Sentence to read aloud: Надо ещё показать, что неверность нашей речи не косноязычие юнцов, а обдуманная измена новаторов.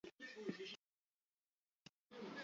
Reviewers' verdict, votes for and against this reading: rejected, 0, 2